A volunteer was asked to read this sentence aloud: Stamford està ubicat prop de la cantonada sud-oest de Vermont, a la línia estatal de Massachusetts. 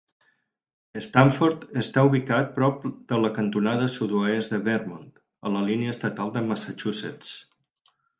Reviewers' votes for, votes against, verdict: 4, 0, accepted